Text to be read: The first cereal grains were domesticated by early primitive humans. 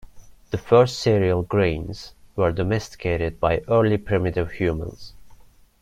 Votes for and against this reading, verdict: 2, 0, accepted